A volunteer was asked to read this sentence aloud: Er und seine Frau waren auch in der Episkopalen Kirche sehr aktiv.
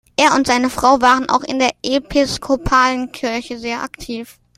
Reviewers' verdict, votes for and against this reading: accepted, 2, 0